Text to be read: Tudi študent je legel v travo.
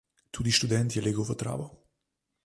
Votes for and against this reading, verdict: 0, 2, rejected